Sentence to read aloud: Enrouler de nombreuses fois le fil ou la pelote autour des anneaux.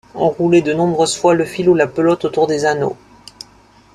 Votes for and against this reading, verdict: 2, 0, accepted